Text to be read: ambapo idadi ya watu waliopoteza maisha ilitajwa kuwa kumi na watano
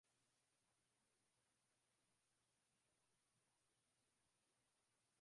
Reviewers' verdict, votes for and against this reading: rejected, 0, 7